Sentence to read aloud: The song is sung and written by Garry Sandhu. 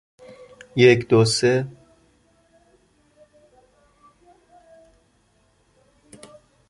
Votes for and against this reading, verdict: 0, 2, rejected